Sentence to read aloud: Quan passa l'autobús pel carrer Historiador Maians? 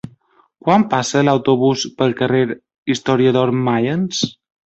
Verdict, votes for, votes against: rejected, 0, 2